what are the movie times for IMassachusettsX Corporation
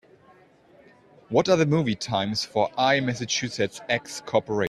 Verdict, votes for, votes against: rejected, 0, 2